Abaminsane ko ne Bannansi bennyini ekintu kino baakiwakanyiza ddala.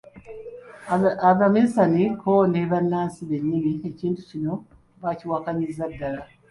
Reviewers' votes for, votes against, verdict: 1, 2, rejected